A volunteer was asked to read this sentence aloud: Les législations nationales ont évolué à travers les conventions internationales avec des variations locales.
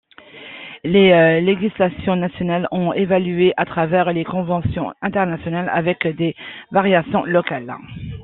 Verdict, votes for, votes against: rejected, 1, 2